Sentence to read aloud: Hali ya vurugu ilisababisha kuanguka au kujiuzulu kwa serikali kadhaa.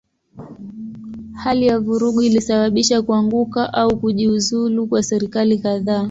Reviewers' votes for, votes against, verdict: 2, 0, accepted